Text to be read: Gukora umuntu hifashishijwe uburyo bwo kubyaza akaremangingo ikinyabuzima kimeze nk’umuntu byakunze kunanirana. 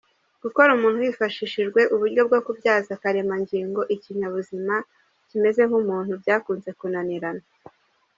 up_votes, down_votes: 1, 2